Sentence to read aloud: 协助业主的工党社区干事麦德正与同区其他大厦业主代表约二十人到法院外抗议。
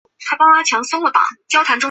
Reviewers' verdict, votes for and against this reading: rejected, 2, 6